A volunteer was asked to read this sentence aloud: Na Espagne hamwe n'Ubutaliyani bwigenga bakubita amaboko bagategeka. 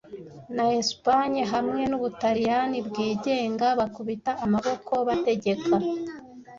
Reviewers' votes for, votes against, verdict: 0, 2, rejected